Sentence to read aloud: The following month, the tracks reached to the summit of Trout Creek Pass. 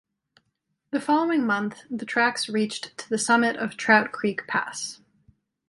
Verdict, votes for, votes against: accepted, 2, 0